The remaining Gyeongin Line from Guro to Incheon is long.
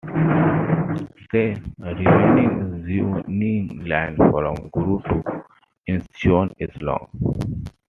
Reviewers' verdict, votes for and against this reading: rejected, 0, 2